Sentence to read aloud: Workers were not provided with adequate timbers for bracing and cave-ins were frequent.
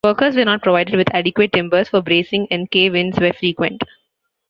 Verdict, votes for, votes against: accepted, 2, 0